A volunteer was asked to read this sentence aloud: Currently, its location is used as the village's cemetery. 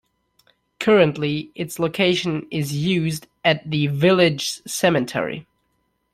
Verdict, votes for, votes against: rejected, 1, 2